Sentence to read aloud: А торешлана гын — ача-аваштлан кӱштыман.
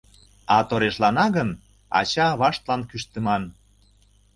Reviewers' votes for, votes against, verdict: 2, 0, accepted